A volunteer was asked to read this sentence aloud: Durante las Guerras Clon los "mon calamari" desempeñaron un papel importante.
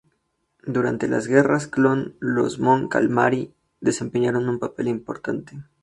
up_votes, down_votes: 2, 2